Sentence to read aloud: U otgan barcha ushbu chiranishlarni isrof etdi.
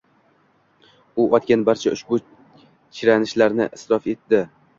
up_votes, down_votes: 2, 1